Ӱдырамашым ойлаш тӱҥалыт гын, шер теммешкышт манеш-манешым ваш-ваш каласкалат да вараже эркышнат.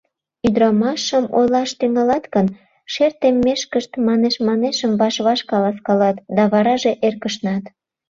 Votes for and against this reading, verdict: 1, 2, rejected